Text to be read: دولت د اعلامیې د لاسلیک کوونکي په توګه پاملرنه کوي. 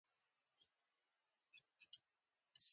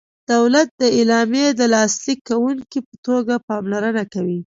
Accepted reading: second